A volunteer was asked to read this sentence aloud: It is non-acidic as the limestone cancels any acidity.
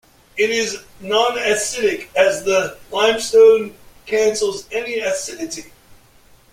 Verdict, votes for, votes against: accepted, 2, 1